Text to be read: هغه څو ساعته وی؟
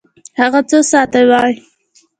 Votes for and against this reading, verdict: 2, 1, accepted